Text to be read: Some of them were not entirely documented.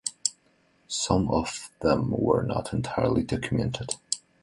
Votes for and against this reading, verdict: 4, 1, accepted